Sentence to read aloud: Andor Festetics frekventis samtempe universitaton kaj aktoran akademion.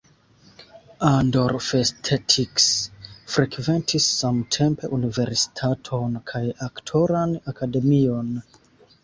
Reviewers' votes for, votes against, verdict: 2, 0, accepted